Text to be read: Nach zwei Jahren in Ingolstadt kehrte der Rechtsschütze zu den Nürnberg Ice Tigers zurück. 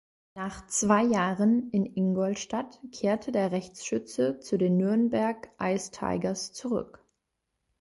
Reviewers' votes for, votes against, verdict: 2, 0, accepted